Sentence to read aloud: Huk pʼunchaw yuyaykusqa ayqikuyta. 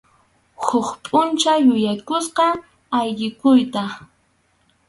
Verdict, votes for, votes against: rejected, 0, 2